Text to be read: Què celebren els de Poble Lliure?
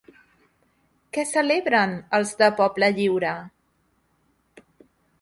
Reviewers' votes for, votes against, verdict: 4, 0, accepted